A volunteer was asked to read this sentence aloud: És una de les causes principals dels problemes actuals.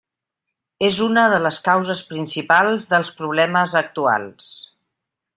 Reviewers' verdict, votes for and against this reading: rejected, 0, 2